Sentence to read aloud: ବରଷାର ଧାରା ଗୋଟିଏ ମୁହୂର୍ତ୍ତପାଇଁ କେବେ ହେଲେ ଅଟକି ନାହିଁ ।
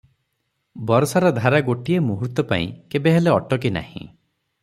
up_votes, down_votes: 3, 3